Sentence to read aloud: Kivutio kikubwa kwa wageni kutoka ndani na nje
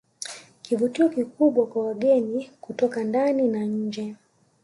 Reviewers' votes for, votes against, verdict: 1, 2, rejected